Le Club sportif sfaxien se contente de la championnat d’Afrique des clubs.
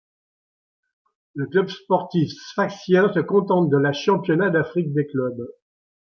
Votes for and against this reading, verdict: 0, 2, rejected